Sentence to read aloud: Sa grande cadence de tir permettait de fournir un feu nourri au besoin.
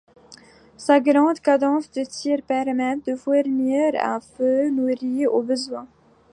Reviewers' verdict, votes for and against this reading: accepted, 2, 0